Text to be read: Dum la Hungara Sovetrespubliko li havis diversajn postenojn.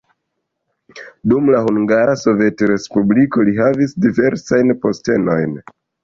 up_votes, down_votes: 2, 0